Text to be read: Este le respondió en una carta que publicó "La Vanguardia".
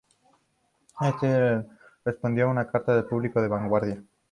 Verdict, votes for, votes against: rejected, 2, 2